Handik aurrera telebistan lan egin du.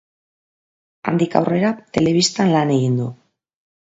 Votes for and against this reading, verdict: 2, 0, accepted